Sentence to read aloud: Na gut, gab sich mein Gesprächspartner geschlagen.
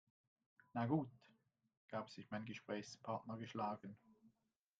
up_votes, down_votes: 1, 2